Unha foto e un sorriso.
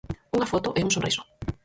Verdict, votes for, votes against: rejected, 2, 4